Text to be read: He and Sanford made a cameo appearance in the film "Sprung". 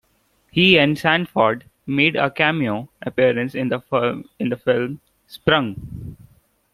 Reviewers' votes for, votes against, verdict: 1, 2, rejected